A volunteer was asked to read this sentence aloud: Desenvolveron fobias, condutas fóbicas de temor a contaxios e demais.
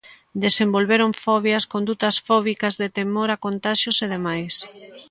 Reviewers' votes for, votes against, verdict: 1, 2, rejected